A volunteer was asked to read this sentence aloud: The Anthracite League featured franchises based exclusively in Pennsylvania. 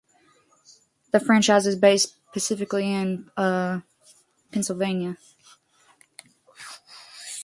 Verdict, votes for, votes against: rejected, 0, 2